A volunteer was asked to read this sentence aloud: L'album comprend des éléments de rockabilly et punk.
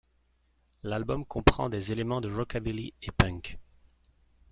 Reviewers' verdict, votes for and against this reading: rejected, 0, 2